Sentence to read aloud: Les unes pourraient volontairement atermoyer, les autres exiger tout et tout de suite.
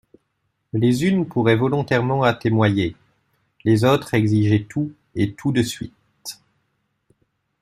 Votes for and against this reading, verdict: 2, 1, accepted